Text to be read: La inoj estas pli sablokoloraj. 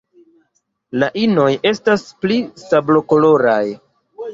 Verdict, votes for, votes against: accepted, 2, 0